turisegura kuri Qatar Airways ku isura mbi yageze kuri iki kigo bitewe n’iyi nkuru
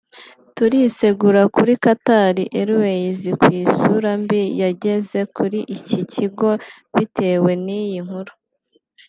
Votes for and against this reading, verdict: 2, 0, accepted